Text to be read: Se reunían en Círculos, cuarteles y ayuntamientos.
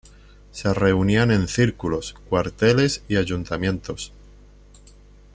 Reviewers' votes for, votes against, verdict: 2, 0, accepted